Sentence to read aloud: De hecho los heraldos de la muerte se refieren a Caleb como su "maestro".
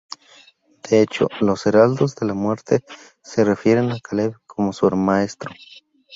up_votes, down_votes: 2, 2